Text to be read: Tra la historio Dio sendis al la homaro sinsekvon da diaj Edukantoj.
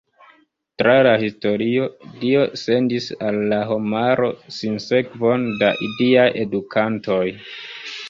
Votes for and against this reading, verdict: 0, 3, rejected